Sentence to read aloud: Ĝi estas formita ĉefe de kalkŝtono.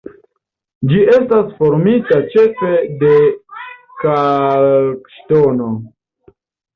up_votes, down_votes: 2, 1